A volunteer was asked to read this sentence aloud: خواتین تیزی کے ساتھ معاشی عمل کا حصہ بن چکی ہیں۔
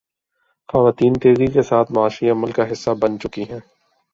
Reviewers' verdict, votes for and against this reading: accepted, 2, 0